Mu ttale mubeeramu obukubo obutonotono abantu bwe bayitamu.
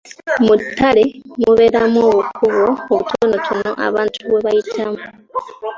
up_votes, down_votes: 2, 0